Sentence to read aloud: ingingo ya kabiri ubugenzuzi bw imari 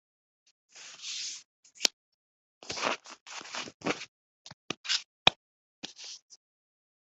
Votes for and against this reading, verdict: 1, 2, rejected